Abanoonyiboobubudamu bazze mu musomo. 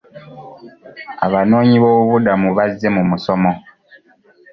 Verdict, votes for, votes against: accepted, 2, 0